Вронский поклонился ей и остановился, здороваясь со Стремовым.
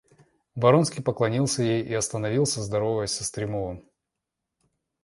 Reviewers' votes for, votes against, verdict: 0, 2, rejected